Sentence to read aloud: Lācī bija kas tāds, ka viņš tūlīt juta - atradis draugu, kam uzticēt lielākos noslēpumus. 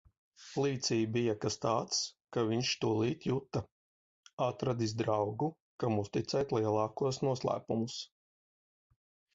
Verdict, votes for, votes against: rejected, 1, 2